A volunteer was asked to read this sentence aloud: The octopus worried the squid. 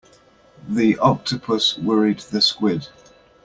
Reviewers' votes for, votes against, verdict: 2, 0, accepted